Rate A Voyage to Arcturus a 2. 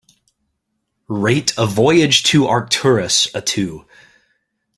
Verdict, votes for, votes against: rejected, 0, 2